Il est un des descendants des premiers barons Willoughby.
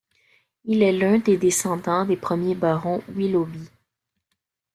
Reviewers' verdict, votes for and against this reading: accepted, 2, 0